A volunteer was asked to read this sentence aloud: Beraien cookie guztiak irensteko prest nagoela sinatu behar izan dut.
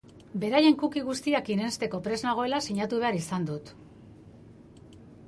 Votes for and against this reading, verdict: 2, 0, accepted